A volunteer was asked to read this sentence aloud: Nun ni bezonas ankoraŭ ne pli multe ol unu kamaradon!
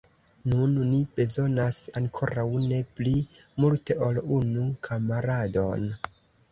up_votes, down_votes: 2, 1